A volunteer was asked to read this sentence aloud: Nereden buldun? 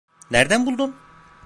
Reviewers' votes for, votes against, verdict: 1, 2, rejected